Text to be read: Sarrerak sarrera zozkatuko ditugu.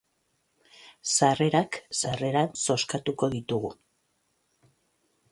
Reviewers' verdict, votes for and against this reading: accepted, 2, 0